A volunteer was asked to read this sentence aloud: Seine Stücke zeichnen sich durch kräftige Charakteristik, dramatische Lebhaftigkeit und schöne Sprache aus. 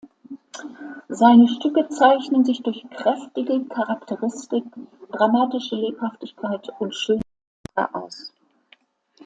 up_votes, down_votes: 0, 2